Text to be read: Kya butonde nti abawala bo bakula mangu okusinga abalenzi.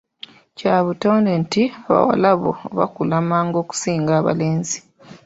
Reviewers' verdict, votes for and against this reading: accepted, 2, 1